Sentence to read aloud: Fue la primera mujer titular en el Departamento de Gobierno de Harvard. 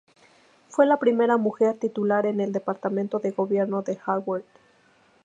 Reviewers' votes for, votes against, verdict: 2, 0, accepted